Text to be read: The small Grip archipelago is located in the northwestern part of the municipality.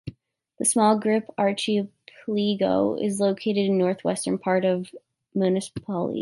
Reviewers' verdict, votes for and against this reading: rejected, 1, 2